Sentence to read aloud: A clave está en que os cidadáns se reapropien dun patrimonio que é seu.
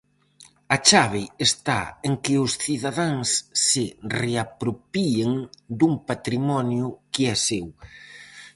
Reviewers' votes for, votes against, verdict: 0, 4, rejected